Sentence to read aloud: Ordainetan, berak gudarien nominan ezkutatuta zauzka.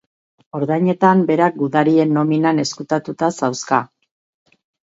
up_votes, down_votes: 0, 2